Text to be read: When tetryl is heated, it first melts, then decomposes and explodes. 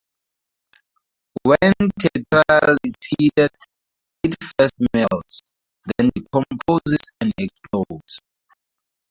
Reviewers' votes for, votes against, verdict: 2, 4, rejected